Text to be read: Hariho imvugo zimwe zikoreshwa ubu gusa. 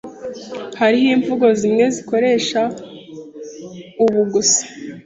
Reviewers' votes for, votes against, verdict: 1, 2, rejected